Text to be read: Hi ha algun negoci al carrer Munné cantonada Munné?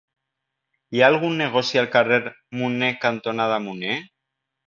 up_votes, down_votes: 1, 2